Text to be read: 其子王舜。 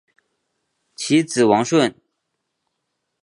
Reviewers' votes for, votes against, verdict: 6, 0, accepted